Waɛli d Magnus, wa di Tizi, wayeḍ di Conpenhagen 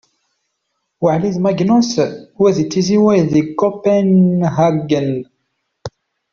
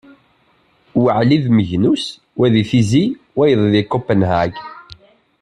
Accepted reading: second